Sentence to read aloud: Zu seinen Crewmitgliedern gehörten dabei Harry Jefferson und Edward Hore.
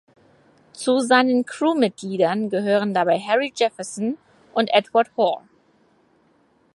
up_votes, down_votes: 0, 4